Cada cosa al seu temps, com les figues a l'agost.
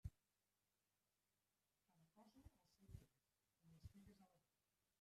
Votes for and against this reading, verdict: 0, 2, rejected